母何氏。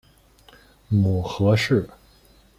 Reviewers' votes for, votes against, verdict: 1, 2, rejected